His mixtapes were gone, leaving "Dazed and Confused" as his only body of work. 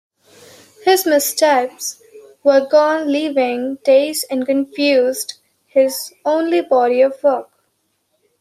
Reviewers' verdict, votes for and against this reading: rejected, 0, 2